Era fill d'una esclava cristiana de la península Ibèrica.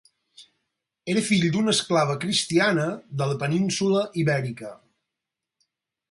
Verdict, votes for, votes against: accepted, 4, 0